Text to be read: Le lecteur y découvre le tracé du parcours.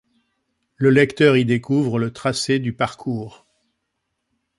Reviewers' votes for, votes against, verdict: 2, 0, accepted